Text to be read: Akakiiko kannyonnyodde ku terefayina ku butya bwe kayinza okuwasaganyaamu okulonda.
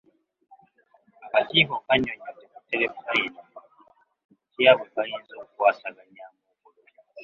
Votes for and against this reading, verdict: 0, 2, rejected